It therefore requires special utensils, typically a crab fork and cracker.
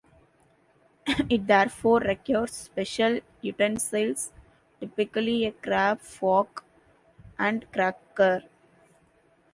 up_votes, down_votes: 0, 2